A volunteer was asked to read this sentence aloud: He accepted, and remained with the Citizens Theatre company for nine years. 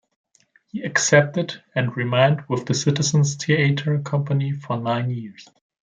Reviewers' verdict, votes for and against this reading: accepted, 2, 0